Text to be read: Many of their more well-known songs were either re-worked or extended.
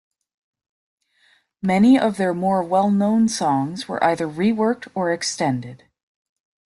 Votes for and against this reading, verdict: 2, 0, accepted